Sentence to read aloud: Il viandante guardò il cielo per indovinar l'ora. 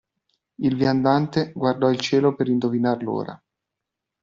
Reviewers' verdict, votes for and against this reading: accepted, 2, 0